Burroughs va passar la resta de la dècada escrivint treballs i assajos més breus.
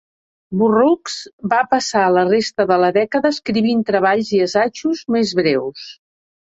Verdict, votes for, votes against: accepted, 2, 1